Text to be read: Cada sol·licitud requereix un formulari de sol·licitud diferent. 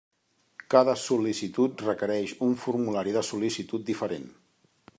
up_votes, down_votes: 3, 0